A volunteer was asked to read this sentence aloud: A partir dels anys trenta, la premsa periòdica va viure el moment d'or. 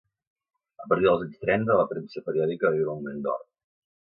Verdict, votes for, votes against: rejected, 1, 2